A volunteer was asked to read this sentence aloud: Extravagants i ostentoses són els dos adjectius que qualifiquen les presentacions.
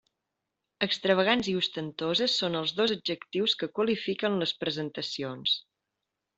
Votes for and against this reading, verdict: 3, 0, accepted